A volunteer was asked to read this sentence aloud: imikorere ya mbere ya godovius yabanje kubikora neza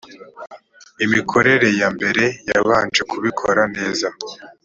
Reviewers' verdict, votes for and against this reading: rejected, 0, 3